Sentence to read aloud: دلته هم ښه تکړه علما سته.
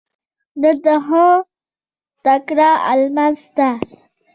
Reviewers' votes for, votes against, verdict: 0, 2, rejected